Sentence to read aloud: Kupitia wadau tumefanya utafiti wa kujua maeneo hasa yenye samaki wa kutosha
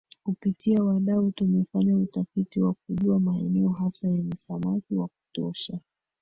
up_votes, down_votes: 1, 2